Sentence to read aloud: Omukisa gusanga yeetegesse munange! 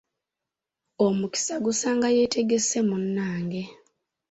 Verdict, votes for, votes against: accepted, 2, 0